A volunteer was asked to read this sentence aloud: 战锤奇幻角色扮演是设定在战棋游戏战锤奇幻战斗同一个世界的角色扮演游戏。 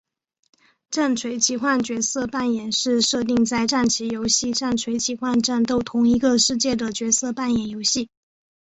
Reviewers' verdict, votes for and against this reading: accepted, 3, 1